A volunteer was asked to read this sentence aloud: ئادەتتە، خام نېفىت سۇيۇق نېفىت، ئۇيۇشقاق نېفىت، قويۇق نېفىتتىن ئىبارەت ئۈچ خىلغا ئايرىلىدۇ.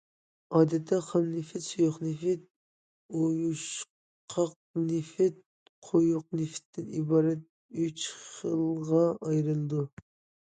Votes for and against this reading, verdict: 2, 1, accepted